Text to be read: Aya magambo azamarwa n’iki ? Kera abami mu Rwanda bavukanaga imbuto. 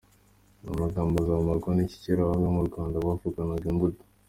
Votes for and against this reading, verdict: 2, 0, accepted